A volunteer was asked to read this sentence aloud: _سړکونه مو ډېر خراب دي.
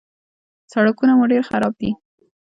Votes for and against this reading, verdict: 2, 0, accepted